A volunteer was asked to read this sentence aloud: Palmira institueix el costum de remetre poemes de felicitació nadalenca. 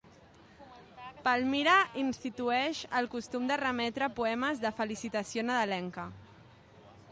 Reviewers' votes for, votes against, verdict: 2, 0, accepted